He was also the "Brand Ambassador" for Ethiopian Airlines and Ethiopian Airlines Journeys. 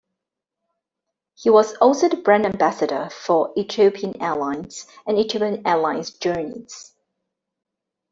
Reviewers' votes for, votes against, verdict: 2, 0, accepted